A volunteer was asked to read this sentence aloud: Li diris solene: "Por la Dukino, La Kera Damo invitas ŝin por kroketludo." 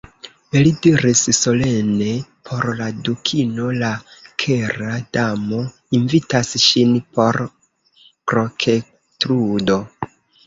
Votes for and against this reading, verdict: 1, 2, rejected